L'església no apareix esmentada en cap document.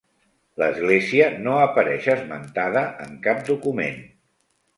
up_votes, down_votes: 4, 0